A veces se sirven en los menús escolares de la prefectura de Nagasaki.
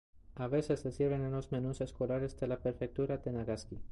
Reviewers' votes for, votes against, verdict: 0, 2, rejected